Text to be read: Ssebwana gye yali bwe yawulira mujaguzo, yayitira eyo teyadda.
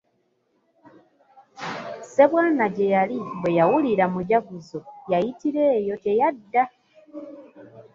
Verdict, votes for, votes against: accepted, 2, 0